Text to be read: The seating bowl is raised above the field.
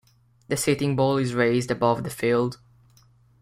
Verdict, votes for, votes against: accepted, 2, 0